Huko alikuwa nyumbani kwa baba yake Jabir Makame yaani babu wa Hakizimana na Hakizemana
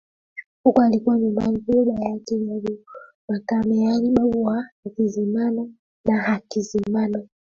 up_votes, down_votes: 2, 1